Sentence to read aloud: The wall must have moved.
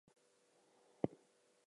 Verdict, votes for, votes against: rejected, 0, 2